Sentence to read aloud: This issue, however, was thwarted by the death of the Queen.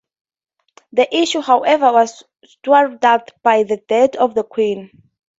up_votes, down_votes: 2, 0